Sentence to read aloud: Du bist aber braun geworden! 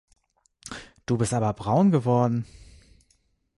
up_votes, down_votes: 2, 0